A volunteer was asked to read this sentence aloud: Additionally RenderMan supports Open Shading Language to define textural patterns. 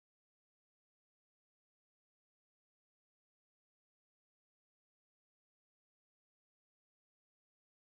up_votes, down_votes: 0, 2